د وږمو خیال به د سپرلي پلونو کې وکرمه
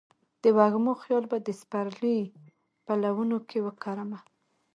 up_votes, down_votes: 1, 2